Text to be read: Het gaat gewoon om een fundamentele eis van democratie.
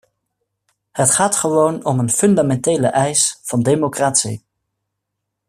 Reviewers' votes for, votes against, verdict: 2, 0, accepted